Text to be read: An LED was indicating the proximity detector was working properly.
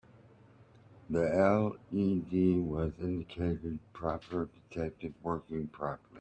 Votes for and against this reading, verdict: 0, 3, rejected